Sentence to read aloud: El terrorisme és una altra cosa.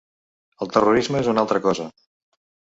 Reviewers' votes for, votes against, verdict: 2, 0, accepted